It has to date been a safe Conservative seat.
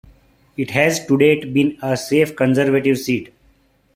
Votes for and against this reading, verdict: 1, 2, rejected